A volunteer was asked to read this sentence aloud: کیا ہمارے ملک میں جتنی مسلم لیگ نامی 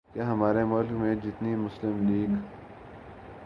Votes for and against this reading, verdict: 8, 4, accepted